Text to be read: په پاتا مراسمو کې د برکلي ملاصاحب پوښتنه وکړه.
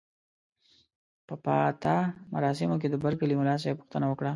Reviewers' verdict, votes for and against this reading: accepted, 2, 0